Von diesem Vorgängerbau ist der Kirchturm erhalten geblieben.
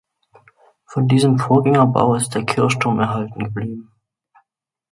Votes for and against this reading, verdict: 2, 1, accepted